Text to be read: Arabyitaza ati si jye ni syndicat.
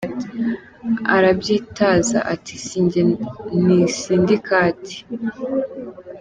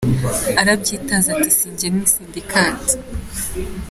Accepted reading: second